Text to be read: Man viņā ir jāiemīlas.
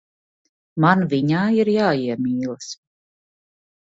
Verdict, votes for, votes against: accepted, 2, 0